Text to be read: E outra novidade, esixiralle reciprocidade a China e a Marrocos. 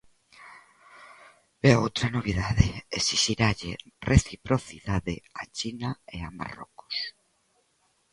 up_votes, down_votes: 2, 0